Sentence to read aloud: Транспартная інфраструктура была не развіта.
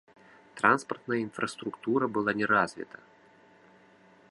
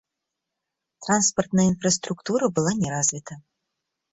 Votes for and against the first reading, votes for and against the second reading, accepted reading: 2, 0, 0, 2, first